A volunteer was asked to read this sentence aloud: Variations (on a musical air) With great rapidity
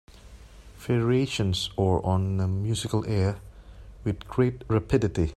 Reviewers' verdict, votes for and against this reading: rejected, 0, 2